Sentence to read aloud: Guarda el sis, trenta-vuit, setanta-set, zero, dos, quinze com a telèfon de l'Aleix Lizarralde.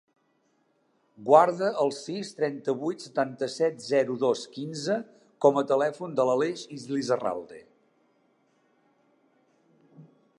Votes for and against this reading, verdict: 2, 0, accepted